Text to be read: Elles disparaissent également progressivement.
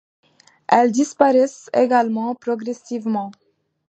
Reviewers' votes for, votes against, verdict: 2, 0, accepted